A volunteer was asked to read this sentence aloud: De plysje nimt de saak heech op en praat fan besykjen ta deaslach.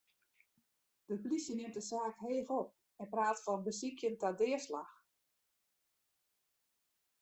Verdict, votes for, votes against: rejected, 1, 2